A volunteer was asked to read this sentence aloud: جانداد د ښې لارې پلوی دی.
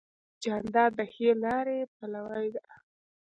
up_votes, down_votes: 2, 0